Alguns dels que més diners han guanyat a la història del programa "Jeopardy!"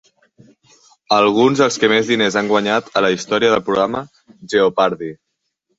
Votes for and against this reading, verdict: 3, 1, accepted